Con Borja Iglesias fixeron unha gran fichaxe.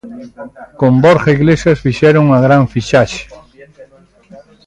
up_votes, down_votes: 0, 2